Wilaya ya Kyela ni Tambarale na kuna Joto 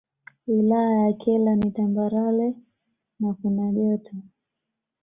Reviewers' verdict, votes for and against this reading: accepted, 2, 0